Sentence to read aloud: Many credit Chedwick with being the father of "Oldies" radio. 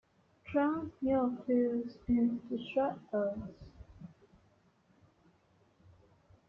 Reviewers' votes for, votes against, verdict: 0, 2, rejected